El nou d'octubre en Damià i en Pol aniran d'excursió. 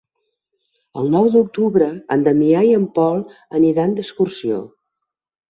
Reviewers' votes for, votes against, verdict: 6, 0, accepted